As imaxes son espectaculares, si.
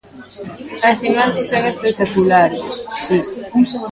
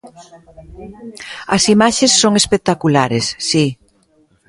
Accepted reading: second